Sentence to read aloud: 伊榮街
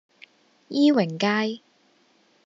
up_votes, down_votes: 2, 0